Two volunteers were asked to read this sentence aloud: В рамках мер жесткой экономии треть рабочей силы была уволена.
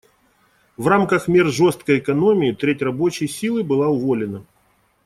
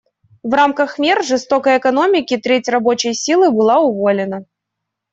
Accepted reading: first